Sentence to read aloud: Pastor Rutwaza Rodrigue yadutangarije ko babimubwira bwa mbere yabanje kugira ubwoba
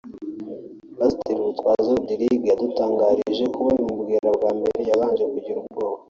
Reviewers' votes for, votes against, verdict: 2, 0, accepted